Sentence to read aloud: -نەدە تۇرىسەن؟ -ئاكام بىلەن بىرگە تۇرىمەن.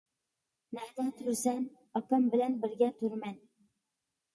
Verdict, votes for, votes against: accepted, 2, 0